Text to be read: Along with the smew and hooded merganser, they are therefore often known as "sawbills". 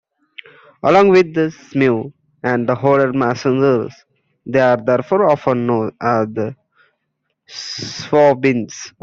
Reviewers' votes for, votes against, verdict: 0, 2, rejected